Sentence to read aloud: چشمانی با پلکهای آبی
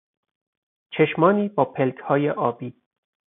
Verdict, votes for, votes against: accepted, 4, 0